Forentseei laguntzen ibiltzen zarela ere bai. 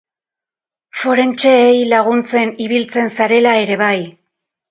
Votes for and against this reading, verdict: 2, 2, rejected